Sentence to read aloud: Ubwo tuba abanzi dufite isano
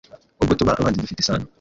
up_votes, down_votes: 1, 2